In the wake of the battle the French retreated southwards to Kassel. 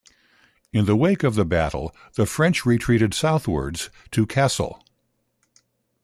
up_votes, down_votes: 2, 0